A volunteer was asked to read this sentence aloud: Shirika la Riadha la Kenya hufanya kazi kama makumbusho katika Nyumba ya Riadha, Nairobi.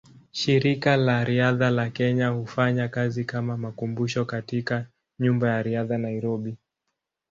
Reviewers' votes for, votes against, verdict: 2, 0, accepted